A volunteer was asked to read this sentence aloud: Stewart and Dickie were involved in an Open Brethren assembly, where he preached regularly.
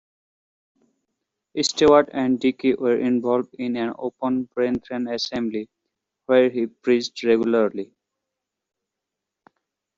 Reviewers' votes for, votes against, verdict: 0, 2, rejected